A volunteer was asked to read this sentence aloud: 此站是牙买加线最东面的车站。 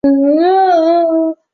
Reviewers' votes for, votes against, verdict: 0, 2, rejected